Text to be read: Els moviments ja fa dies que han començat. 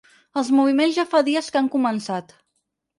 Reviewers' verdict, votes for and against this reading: accepted, 6, 0